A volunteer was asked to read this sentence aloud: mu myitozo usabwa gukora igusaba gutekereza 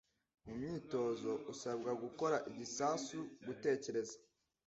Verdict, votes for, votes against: rejected, 0, 2